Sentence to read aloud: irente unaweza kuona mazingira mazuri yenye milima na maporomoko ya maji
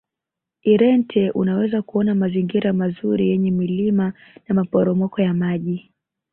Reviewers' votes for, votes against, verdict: 3, 2, accepted